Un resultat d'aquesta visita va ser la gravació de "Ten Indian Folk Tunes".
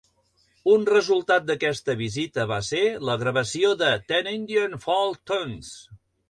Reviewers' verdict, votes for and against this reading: accepted, 2, 0